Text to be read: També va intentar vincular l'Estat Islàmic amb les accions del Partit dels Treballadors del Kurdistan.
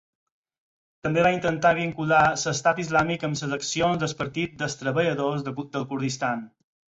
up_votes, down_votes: 2, 8